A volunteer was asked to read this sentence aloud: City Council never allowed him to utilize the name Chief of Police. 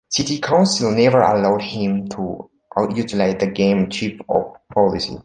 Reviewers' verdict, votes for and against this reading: rejected, 0, 2